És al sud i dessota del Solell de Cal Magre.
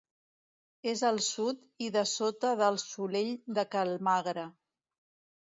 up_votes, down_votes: 2, 0